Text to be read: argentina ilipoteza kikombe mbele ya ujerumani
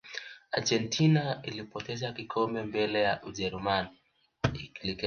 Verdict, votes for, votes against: rejected, 1, 2